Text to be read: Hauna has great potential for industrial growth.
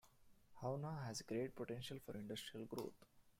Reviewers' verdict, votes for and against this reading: rejected, 1, 2